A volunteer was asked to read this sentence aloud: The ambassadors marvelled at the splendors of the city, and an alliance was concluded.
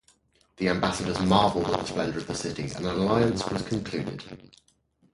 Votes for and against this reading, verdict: 0, 2, rejected